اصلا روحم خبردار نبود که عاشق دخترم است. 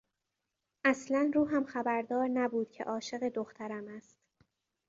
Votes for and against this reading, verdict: 2, 0, accepted